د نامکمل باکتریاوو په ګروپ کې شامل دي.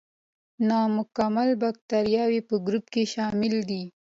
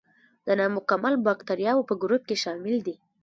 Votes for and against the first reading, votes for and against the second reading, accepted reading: 2, 0, 1, 2, first